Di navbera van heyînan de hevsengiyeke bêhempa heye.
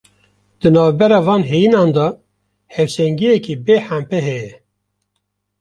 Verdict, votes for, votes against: accepted, 2, 0